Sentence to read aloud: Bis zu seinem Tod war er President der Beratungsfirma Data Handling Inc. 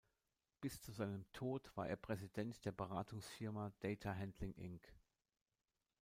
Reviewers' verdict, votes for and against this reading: rejected, 1, 2